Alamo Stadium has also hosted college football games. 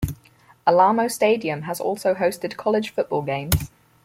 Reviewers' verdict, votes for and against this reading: rejected, 2, 4